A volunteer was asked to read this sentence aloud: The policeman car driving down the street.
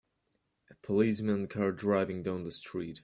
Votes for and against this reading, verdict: 2, 0, accepted